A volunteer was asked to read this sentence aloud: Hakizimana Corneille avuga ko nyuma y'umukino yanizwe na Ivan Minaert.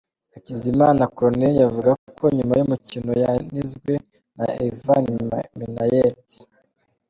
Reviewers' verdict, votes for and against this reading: rejected, 0, 2